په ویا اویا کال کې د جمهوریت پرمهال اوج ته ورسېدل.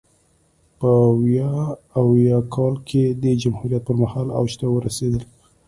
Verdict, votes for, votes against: accepted, 3, 0